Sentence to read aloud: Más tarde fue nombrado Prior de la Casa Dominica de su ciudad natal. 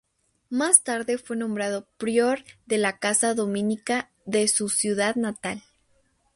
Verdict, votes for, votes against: accepted, 2, 0